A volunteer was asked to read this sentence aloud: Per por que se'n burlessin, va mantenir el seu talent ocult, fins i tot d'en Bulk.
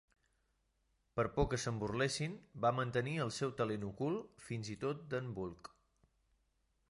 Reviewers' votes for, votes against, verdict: 3, 1, accepted